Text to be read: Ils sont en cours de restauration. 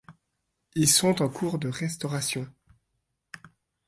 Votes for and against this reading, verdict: 2, 0, accepted